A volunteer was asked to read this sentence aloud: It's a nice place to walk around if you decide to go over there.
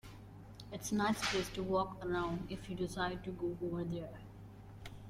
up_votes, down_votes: 2, 0